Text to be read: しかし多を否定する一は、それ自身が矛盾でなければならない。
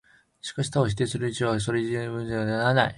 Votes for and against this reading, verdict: 0, 4, rejected